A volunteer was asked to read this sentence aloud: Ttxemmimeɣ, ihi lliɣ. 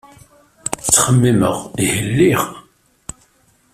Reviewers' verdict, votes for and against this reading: accepted, 2, 0